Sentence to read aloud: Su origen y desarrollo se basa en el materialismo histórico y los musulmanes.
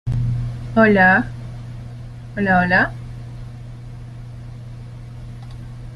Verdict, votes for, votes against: rejected, 0, 2